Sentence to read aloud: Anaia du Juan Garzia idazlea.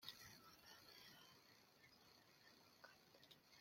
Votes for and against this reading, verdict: 0, 2, rejected